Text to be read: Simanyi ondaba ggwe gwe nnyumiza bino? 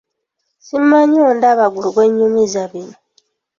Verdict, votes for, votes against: accepted, 2, 0